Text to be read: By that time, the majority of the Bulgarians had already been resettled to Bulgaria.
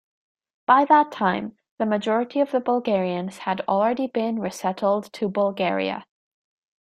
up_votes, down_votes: 2, 0